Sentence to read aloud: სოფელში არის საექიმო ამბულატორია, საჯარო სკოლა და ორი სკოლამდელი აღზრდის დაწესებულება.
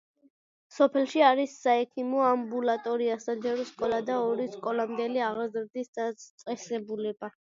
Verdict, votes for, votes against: accepted, 2, 0